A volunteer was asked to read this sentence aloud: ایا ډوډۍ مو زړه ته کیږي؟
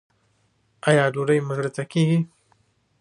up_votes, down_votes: 0, 2